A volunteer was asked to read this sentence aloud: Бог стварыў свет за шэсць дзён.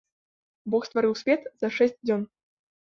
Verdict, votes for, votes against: accepted, 2, 1